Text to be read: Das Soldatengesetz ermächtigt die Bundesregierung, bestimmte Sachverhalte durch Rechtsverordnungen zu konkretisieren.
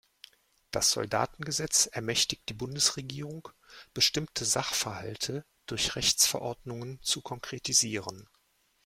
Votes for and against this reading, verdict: 2, 0, accepted